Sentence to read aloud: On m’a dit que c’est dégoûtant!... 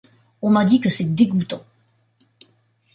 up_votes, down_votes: 2, 0